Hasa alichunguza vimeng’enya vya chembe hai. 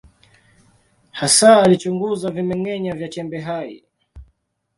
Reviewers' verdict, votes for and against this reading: accepted, 2, 0